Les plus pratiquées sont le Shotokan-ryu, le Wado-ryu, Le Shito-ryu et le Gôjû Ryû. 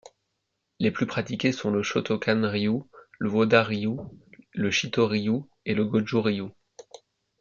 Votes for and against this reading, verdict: 0, 2, rejected